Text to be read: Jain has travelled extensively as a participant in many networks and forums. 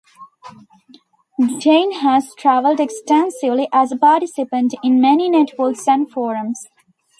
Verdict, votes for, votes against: rejected, 0, 2